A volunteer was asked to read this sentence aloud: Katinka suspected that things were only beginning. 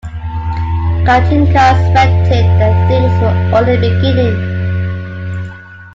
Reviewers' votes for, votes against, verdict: 2, 0, accepted